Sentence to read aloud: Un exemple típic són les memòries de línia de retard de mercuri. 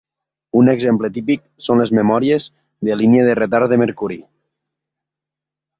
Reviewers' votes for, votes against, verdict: 3, 0, accepted